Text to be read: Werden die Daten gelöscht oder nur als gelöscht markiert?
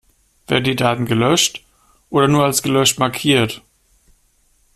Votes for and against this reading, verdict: 0, 2, rejected